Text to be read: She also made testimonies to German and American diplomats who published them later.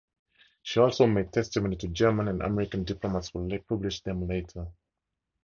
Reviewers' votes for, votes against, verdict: 0, 2, rejected